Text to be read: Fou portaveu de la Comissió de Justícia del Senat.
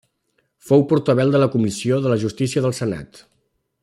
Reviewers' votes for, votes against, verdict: 1, 2, rejected